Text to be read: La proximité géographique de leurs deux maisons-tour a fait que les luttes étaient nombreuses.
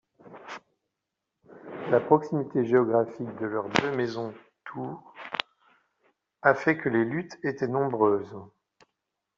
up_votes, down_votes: 1, 2